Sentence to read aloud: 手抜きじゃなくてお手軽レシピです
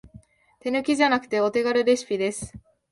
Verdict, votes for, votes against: accepted, 8, 1